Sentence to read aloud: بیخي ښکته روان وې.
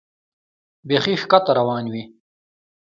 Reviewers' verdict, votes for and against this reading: accepted, 2, 0